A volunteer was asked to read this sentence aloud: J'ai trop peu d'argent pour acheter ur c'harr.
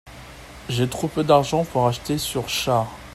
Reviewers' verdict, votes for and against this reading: accepted, 2, 1